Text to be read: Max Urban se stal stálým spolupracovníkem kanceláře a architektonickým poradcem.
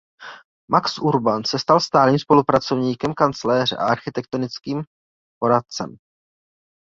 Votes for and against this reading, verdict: 2, 2, rejected